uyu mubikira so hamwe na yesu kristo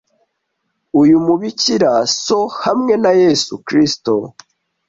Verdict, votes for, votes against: accepted, 2, 0